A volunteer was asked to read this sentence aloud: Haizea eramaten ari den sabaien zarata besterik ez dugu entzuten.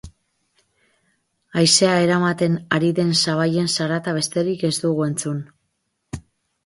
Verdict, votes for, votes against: rejected, 2, 2